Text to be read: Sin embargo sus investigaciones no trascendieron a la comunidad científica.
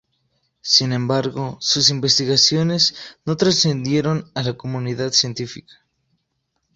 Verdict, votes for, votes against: accepted, 2, 0